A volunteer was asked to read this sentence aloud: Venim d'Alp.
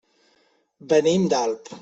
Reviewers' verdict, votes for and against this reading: accepted, 3, 0